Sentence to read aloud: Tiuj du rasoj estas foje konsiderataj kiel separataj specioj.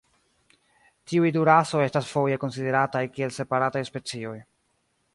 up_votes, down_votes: 0, 2